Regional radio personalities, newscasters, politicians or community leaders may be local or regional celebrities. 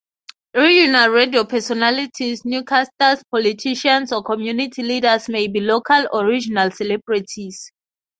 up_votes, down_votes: 0, 6